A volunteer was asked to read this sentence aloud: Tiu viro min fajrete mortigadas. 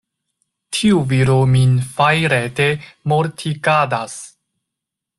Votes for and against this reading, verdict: 2, 0, accepted